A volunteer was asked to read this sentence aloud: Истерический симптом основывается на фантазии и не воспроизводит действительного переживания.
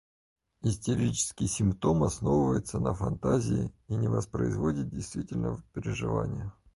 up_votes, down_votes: 4, 0